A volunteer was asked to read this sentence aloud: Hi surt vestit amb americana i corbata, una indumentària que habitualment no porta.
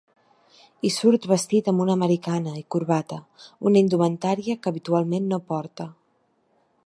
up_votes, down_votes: 1, 2